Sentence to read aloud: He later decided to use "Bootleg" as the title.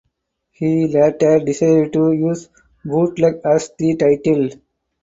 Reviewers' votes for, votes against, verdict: 4, 0, accepted